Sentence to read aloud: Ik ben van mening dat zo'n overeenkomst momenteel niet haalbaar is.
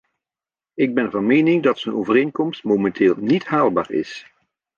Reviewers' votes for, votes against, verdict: 2, 0, accepted